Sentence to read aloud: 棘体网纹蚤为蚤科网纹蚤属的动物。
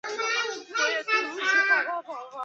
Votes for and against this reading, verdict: 0, 2, rejected